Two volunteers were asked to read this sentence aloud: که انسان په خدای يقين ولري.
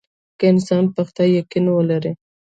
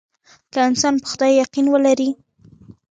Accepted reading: second